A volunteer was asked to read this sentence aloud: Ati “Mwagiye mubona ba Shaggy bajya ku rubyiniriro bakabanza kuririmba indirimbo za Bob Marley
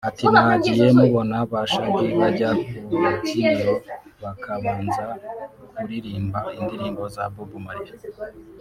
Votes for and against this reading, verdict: 1, 2, rejected